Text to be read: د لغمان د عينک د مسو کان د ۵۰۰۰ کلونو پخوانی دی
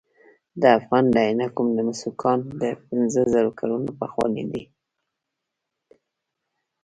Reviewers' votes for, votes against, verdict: 0, 2, rejected